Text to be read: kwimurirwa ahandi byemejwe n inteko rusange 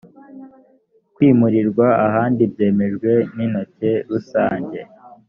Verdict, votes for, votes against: rejected, 1, 2